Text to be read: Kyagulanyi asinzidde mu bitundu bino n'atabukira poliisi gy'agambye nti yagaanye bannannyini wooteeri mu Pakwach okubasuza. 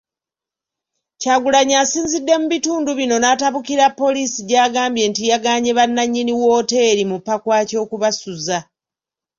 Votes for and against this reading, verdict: 2, 0, accepted